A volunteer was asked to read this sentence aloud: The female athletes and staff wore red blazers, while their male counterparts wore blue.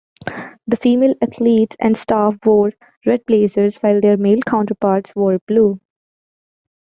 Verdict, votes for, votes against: accepted, 2, 0